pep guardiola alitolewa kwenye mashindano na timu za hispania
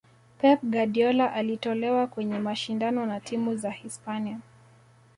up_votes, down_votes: 1, 2